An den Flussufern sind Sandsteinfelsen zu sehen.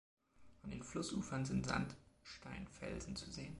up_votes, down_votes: 1, 2